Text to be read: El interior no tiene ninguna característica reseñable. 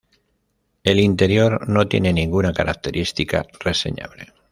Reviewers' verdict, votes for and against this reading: rejected, 1, 2